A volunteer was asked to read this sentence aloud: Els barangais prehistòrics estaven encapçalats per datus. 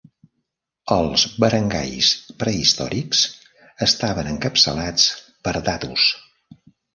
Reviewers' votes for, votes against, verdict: 2, 0, accepted